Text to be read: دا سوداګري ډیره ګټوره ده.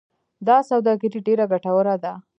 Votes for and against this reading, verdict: 0, 2, rejected